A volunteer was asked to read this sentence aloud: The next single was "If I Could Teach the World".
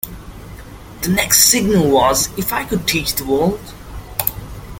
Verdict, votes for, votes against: accepted, 2, 0